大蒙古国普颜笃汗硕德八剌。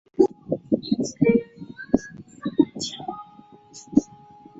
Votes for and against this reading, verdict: 0, 7, rejected